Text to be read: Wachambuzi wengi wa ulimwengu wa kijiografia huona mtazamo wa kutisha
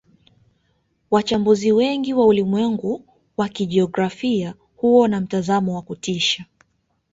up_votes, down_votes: 2, 0